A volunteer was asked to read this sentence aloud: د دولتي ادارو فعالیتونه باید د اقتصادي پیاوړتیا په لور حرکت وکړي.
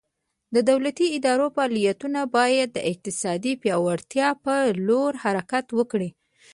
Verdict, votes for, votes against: rejected, 1, 2